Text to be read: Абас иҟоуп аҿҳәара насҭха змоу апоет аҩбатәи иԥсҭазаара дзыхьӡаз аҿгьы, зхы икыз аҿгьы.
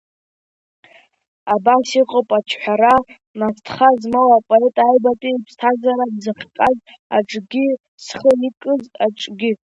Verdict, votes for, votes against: rejected, 0, 2